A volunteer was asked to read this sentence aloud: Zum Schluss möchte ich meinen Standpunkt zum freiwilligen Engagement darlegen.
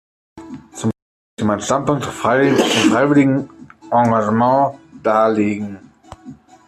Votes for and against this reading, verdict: 0, 2, rejected